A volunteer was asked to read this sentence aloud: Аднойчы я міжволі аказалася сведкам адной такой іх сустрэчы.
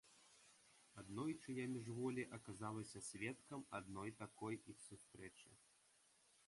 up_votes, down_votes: 1, 2